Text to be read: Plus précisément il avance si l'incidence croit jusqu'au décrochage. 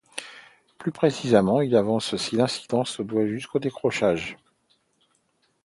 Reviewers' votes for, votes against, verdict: 1, 2, rejected